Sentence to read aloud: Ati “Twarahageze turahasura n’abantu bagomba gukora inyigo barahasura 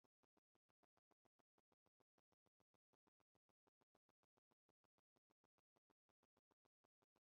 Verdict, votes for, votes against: rejected, 0, 2